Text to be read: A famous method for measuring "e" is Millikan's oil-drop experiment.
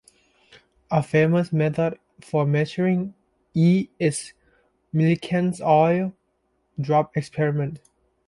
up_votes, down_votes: 2, 0